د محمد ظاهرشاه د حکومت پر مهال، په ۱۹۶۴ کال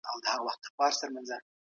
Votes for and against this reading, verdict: 0, 2, rejected